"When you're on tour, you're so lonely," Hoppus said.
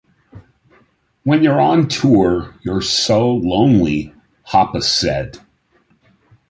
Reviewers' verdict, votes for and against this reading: accepted, 2, 0